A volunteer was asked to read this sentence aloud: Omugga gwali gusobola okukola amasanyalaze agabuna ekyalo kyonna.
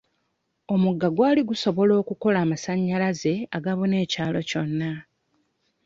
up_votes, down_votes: 2, 0